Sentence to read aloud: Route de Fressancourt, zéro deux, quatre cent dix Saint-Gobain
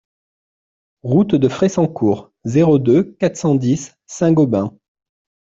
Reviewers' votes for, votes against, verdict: 2, 0, accepted